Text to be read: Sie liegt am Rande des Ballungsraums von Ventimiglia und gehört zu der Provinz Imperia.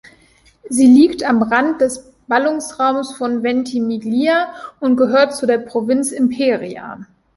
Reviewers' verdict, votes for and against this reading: rejected, 1, 2